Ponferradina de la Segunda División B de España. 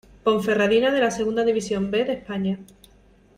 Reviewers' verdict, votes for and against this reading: accepted, 2, 0